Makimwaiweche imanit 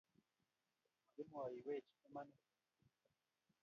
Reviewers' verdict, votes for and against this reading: rejected, 0, 3